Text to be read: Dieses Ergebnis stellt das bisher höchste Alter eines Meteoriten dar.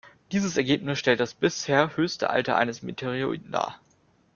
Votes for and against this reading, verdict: 1, 2, rejected